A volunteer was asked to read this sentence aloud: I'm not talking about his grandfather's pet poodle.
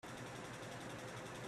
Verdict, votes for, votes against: rejected, 0, 2